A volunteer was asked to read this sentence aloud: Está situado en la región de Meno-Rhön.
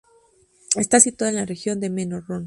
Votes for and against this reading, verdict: 2, 0, accepted